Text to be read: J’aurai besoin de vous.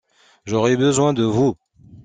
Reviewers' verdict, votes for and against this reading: accepted, 2, 0